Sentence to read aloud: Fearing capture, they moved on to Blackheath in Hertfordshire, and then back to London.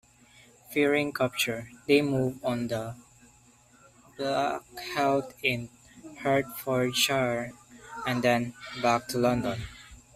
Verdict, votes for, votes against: rejected, 1, 2